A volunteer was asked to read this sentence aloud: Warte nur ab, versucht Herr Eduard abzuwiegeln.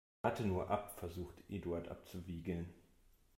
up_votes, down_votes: 1, 2